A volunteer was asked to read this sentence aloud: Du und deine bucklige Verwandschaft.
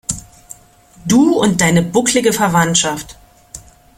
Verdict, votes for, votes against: accepted, 2, 0